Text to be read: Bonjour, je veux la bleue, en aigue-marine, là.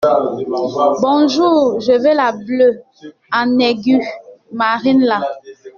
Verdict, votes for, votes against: rejected, 0, 2